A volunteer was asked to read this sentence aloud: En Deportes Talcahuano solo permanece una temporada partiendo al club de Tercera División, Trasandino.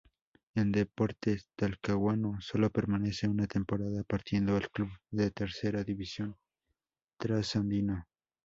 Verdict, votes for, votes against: rejected, 2, 2